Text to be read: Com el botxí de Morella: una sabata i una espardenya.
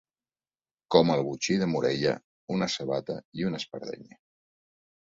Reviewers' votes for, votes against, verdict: 4, 0, accepted